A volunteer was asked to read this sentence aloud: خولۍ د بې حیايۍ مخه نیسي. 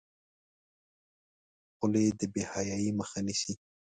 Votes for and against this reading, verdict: 1, 2, rejected